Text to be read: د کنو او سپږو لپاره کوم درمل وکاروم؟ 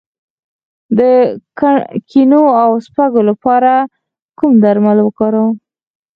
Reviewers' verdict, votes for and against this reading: rejected, 2, 4